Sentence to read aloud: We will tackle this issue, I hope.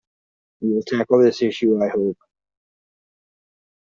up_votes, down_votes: 1, 2